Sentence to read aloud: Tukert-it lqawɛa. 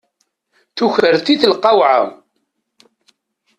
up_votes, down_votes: 0, 2